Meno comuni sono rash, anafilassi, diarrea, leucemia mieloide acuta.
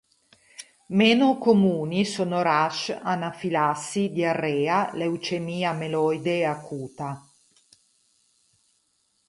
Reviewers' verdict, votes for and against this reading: accepted, 4, 0